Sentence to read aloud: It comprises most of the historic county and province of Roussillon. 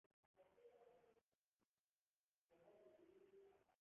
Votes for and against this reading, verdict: 0, 3, rejected